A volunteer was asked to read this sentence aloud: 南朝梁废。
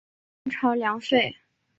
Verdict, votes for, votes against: rejected, 1, 2